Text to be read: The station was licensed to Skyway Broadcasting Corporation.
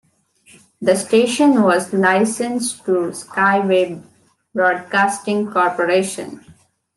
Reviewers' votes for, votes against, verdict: 2, 0, accepted